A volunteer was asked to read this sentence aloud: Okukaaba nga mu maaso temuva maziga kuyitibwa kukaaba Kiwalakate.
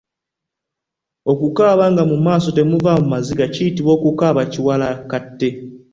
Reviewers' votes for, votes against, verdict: 2, 0, accepted